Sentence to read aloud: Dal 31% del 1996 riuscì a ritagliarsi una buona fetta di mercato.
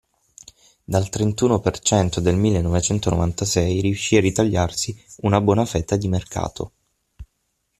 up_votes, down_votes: 0, 2